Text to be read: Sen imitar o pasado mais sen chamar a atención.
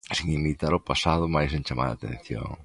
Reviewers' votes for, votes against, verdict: 2, 1, accepted